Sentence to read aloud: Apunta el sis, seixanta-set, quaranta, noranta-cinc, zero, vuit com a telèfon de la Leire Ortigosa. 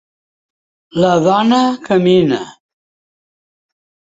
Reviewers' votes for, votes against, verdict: 0, 2, rejected